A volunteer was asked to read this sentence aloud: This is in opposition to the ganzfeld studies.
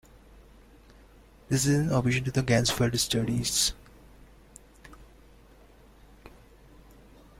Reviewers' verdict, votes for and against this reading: rejected, 1, 2